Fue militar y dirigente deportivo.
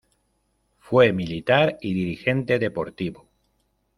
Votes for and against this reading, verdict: 2, 0, accepted